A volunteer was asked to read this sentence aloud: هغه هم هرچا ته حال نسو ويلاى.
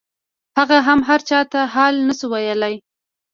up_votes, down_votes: 1, 2